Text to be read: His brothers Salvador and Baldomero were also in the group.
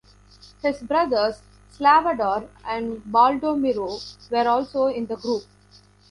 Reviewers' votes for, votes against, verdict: 1, 2, rejected